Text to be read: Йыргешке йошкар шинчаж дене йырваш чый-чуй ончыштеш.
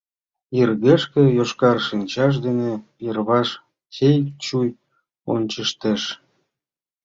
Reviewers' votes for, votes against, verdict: 3, 0, accepted